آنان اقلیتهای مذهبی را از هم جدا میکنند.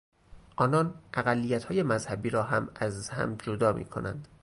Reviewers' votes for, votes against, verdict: 0, 2, rejected